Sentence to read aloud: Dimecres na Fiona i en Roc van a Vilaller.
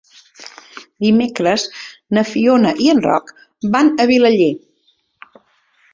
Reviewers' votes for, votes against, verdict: 3, 0, accepted